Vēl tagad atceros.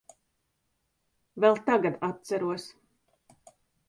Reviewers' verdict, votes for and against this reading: accepted, 3, 0